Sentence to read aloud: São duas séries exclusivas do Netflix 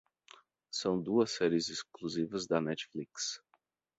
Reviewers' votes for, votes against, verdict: 0, 4, rejected